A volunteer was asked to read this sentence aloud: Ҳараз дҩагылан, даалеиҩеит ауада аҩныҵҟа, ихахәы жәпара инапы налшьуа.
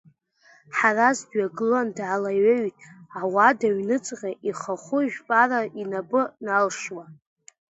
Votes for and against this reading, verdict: 0, 2, rejected